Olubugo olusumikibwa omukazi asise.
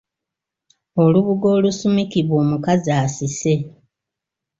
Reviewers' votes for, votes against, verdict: 2, 0, accepted